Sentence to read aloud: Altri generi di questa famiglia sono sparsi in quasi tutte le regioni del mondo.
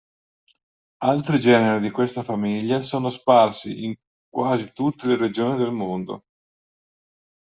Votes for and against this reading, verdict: 2, 0, accepted